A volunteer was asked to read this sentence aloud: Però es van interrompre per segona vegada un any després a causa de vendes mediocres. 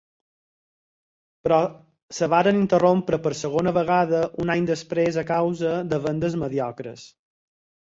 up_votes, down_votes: 2, 4